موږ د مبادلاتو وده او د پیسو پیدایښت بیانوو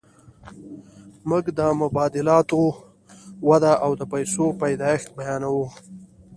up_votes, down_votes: 2, 0